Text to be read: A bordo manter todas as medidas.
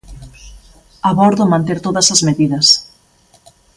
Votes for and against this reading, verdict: 2, 1, accepted